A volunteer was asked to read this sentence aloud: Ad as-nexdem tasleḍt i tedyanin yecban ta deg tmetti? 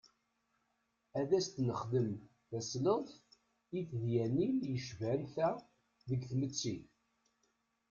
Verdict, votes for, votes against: rejected, 0, 2